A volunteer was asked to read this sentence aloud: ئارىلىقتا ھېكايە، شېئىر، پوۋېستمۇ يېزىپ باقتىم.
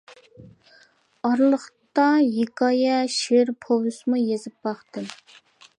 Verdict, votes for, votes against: rejected, 1, 2